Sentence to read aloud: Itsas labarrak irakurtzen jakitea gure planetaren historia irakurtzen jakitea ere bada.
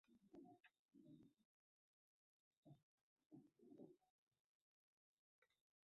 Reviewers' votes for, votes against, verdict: 0, 2, rejected